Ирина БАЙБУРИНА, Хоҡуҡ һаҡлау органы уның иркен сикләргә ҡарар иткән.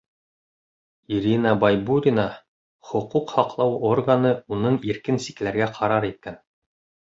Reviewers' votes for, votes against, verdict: 2, 0, accepted